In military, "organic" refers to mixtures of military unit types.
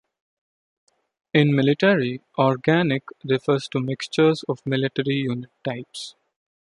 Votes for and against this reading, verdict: 2, 0, accepted